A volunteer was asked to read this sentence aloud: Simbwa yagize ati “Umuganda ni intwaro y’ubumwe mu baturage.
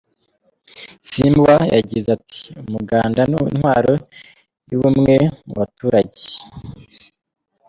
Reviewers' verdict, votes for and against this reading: accepted, 2, 0